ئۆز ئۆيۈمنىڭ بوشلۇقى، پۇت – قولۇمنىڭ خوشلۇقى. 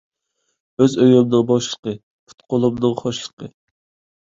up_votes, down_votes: 1, 2